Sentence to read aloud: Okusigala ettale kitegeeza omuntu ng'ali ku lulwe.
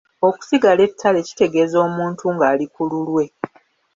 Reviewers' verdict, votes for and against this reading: accepted, 2, 0